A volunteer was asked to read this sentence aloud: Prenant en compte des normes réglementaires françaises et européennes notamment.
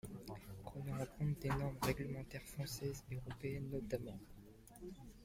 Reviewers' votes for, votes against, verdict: 0, 2, rejected